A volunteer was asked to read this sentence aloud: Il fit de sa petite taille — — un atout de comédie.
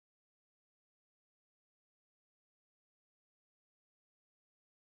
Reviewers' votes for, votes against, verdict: 0, 2, rejected